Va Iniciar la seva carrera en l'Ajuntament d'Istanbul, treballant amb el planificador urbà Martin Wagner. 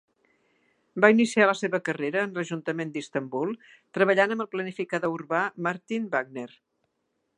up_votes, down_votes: 2, 0